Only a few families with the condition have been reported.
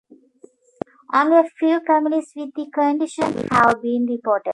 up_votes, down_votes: 2, 1